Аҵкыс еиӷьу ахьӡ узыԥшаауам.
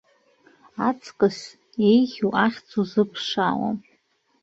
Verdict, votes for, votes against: rejected, 0, 2